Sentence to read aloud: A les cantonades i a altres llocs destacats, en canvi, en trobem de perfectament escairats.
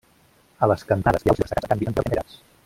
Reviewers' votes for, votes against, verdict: 0, 2, rejected